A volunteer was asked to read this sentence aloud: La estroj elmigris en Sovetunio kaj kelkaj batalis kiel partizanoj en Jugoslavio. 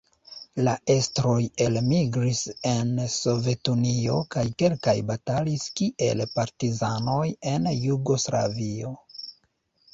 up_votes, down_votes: 1, 2